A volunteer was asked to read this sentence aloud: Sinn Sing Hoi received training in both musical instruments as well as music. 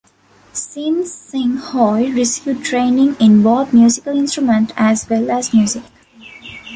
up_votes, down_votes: 2, 1